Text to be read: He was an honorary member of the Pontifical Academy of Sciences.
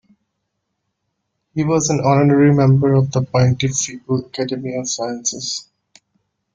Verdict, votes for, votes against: rejected, 1, 2